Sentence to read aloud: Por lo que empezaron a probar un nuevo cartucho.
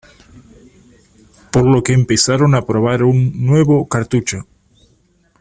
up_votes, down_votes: 2, 0